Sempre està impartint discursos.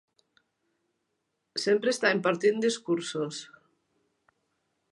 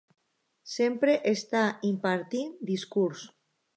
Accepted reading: first